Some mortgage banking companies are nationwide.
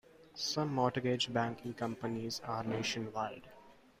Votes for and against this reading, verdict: 2, 1, accepted